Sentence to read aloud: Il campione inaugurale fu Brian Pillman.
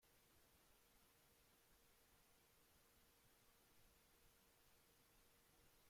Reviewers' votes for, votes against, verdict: 0, 2, rejected